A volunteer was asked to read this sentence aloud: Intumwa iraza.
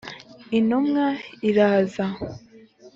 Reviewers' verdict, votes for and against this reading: accepted, 2, 0